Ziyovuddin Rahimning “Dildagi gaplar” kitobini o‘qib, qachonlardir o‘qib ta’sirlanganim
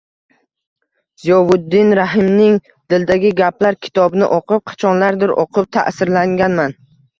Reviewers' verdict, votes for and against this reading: rejected, 0, 2